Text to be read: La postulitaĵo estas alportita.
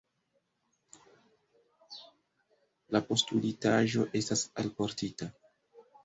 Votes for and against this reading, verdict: 2, 0, accepted